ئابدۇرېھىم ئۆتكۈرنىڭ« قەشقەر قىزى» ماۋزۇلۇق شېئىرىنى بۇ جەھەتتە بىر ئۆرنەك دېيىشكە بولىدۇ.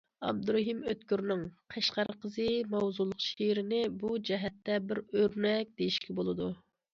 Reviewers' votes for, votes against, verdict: 2, 0, accepted